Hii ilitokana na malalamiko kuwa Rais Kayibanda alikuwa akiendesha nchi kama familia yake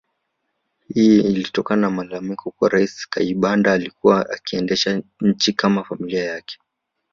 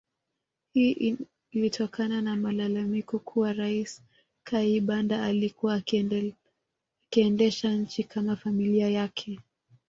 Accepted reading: first